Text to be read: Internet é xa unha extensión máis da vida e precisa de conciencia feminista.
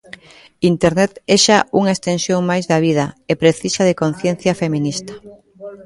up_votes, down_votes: 2, 1